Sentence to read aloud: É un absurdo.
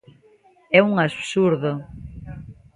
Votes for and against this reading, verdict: 2, 0, accepted